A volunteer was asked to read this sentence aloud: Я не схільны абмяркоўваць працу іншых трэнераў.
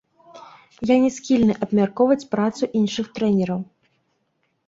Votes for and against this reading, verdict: 0, 2, rejected